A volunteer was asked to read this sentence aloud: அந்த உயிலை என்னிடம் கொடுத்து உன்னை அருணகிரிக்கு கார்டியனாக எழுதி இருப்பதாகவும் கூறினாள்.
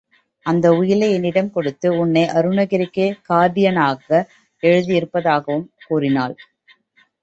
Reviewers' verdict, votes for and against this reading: accepted, 2, 0